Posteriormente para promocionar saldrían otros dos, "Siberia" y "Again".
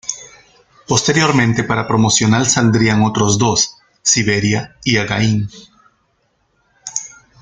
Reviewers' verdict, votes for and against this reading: rejected, 0, 2